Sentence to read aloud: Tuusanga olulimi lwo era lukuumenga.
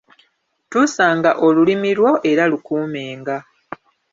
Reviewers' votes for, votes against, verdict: 2, 1, accepted